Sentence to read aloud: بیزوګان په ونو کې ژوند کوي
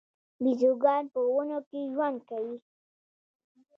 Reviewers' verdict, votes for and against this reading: accepted, 2, 0